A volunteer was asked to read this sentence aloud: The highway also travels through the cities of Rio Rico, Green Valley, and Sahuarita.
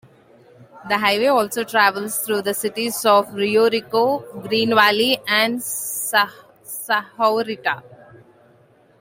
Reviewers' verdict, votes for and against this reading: rejected, 0, 2